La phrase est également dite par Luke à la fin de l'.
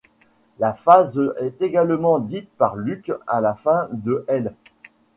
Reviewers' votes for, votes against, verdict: 1, 2, rejected